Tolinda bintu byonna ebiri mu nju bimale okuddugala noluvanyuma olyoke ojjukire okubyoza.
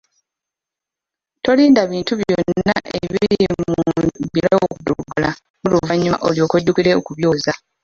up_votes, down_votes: 1, 2